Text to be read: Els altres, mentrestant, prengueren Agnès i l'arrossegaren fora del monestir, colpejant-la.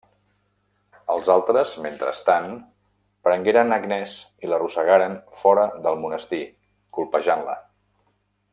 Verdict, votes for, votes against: accepted, 2, 0